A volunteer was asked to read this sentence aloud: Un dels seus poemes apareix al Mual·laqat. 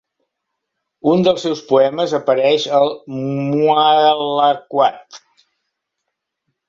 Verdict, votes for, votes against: rejected, 1, 2